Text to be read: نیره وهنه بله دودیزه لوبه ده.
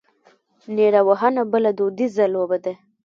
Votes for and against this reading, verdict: 0, 2, rejected